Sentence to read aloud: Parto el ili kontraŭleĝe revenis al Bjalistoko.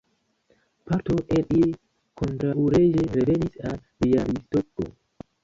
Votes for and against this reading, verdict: 1, 2, rejected